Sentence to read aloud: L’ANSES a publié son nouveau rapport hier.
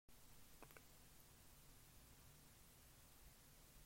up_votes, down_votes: 0, 2